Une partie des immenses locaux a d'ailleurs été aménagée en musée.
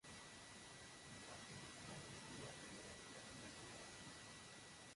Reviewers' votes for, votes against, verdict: 0, 2, rejected